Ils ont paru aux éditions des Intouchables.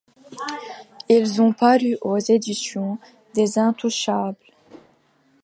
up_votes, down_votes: 3, 0